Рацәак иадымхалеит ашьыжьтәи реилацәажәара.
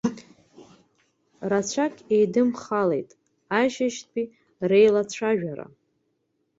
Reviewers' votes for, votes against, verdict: 0, 2, rejected